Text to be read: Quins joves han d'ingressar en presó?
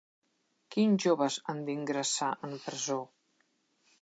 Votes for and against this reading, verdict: 2, 0, accepted